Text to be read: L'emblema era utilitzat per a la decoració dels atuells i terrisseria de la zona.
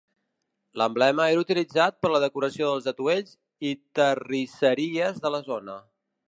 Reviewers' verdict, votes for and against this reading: rejected, 1, 2